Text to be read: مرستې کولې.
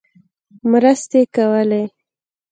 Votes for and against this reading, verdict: 2, 0, accepted